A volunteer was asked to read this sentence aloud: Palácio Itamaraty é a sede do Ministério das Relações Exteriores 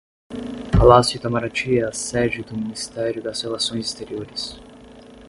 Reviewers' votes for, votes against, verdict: 10, 0, accepted